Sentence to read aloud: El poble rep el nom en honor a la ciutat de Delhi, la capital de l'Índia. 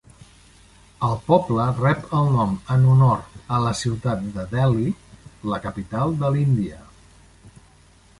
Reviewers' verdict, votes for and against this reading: accepted, 3, 1